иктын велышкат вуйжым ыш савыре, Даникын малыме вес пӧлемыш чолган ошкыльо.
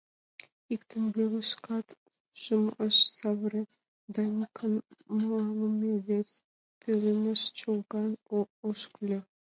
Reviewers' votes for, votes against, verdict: 0, 2, rejected